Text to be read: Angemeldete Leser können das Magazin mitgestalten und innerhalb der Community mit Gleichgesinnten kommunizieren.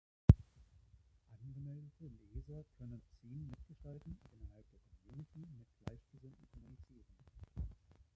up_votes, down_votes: 0, 2